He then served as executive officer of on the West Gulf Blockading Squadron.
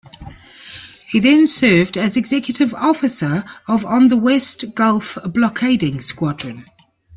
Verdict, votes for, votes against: accepted, 2, 0